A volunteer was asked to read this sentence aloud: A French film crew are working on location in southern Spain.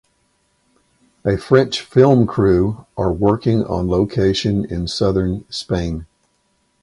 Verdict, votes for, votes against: accepted, 4, 2